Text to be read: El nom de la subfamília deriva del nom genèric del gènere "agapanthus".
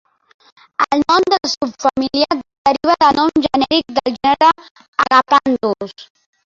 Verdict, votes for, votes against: rejected, 0, 2